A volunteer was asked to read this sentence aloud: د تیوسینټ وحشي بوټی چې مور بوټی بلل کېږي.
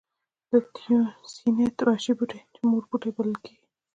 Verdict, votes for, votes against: rejected, 1, 2